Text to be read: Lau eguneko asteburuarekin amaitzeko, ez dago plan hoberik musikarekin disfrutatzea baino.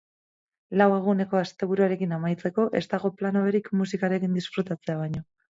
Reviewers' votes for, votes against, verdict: 2, 2, rejected